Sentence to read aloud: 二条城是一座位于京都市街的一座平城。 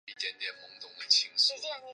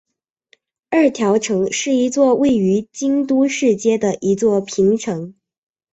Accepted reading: second